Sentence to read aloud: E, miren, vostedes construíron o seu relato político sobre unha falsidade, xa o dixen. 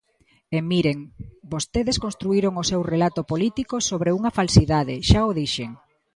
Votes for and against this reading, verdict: 2, 0, accepted